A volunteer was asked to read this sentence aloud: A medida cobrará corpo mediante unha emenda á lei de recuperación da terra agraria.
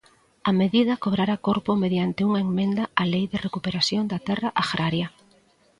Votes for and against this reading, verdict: 1, 2, rejected